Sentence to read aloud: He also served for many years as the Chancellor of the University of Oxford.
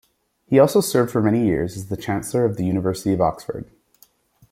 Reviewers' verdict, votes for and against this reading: accepted, 2, 1